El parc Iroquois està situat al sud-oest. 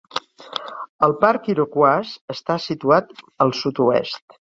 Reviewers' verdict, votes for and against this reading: accepted, 3, 0